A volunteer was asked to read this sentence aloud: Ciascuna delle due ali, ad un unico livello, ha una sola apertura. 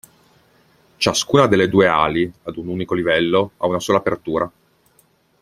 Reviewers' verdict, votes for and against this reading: accepted, 2, 0